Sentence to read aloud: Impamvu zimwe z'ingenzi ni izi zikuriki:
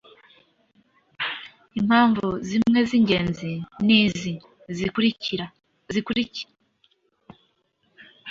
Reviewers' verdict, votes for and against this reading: rejected, 0, 2